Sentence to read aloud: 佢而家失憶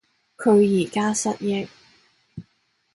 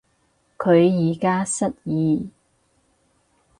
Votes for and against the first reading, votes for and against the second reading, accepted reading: 3, 0, 2, 4, first